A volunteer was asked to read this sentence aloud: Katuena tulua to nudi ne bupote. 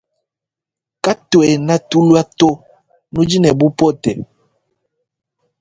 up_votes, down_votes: 4, 1